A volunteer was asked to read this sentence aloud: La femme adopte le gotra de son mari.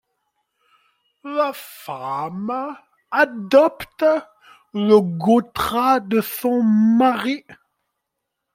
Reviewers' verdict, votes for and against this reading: accepted, 2, 1